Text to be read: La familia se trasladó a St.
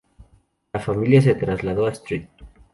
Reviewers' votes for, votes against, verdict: 0, 2, rejected